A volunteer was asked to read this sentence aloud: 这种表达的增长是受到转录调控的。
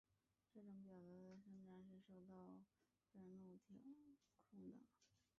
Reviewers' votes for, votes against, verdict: 0, 2, rejected